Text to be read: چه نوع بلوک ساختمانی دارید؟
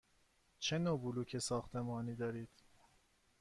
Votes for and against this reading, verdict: 2, 0, accepted